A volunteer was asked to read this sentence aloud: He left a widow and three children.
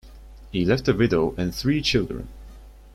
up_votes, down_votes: 1, 2